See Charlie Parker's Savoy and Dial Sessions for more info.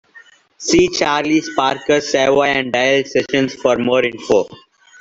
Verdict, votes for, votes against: rejected, 0, 2